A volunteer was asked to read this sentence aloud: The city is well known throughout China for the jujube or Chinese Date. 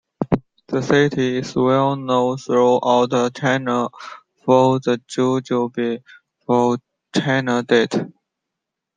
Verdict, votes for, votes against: accepted, 2, 1